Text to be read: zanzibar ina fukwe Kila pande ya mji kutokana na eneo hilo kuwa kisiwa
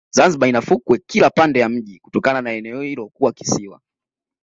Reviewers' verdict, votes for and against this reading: accepted, 2, 0